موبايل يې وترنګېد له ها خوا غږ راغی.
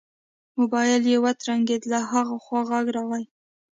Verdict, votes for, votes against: accepted, 2, 0